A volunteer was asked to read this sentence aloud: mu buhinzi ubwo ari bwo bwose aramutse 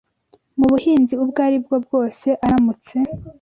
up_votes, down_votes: 2, 0